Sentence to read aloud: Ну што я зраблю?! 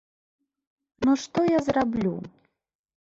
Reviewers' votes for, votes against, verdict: 3, 0, accepted